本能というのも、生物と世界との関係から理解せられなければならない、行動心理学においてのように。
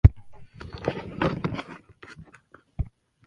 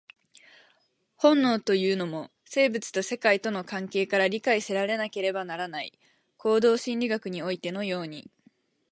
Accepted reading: second